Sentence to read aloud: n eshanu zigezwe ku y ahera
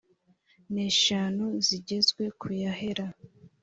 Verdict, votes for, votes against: accepted, 3, 0